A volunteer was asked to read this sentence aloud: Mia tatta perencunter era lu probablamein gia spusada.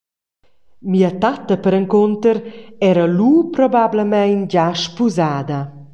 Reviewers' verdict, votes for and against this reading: accepted, 2, 0